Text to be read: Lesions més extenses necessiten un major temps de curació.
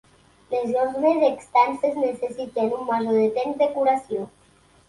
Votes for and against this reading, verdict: 2, 1, accepted